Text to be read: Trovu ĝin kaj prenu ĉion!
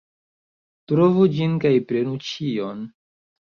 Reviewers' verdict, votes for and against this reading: accepted, 2, 0